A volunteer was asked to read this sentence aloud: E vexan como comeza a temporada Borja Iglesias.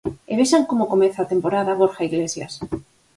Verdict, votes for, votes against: accepted, 4, 0